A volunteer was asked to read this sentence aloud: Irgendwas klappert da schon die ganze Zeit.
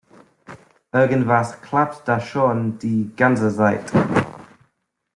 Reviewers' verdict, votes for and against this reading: rejected, 0, 2